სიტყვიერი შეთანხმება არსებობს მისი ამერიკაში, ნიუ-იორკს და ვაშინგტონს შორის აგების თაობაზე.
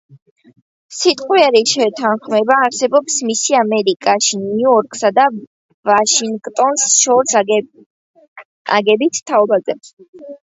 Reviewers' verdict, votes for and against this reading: rejected, 1, 2